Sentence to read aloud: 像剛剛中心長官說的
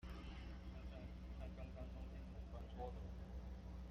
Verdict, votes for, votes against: rejected, 0, 2